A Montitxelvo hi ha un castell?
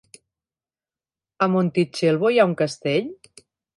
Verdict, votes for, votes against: accepted, 3, 0